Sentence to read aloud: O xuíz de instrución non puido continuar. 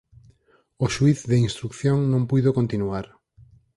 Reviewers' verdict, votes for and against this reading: accepted, 4, 0